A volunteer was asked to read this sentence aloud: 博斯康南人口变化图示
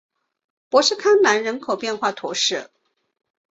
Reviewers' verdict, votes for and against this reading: accepted, 2, 0